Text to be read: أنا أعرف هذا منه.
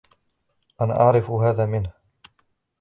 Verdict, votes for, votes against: rejected, 1, 2